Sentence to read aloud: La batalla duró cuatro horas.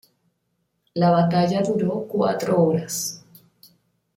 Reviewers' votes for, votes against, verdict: 2, 0, accepted